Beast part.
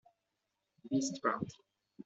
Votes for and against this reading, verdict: 2, 0, accepted